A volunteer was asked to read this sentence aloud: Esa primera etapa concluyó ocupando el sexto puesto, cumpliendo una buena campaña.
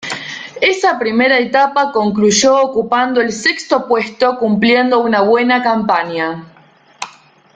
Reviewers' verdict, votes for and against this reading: rejected, 0, 2